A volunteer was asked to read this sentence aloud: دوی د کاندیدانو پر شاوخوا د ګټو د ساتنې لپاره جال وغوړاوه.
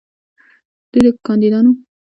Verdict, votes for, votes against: accepted, 2, 1